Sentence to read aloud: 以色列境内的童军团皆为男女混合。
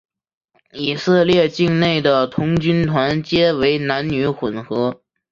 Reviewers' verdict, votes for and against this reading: accepted, 4, 1